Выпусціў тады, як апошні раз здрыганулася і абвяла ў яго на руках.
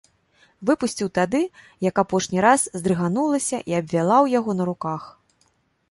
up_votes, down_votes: 1, 2